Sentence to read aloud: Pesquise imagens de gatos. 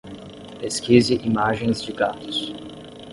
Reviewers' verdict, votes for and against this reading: accepted, 10, 0